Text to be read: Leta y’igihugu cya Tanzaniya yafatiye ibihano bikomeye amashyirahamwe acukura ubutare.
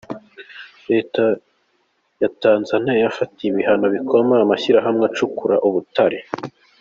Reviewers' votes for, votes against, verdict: 1, 2, rejected